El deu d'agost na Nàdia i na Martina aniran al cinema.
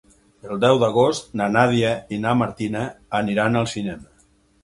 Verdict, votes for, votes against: accepted, 8, 0